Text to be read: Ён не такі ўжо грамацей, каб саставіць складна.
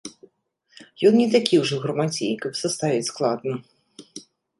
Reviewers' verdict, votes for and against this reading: accepted, 2, 0